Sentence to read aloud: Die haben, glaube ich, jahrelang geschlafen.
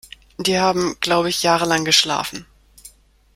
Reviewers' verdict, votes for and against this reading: accepted, 2, 0